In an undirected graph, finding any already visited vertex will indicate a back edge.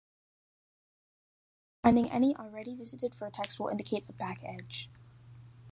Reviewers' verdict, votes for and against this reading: rejected, 0, 2